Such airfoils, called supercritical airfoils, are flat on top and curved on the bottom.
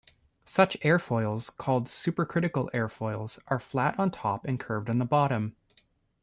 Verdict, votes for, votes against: accepted, 2, 0